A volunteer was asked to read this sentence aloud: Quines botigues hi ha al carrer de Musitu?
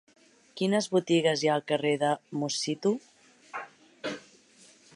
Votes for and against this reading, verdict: 3, 0, accepted